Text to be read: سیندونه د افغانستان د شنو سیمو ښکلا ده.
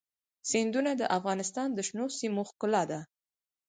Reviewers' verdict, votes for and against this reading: rejected, 2, 4